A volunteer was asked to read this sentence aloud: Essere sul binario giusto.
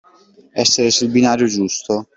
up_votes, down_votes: 2, 0